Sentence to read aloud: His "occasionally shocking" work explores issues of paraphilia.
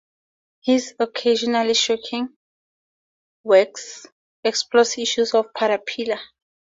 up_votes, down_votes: 2, 0